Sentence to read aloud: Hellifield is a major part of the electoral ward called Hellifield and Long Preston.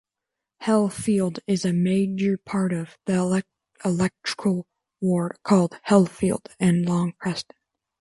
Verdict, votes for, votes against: rejected, 0, 3